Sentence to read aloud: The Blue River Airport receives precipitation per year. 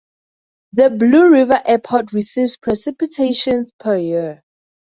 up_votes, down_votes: 2, 0